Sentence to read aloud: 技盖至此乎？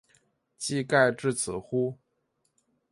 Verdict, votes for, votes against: rejected, 1, 2